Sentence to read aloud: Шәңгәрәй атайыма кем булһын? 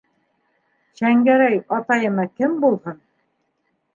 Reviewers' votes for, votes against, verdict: 2, 1, accepted